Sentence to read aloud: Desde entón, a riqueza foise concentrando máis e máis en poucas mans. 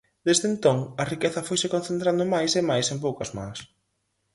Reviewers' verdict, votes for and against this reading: accepted, 4, 0